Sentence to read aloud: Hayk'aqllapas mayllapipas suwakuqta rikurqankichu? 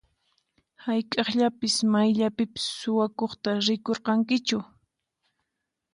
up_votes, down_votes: 4, 0